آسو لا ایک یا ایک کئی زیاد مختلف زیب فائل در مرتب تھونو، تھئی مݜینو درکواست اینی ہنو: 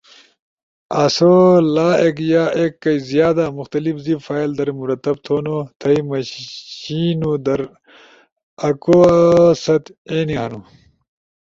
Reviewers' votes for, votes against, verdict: 2, 0, accepted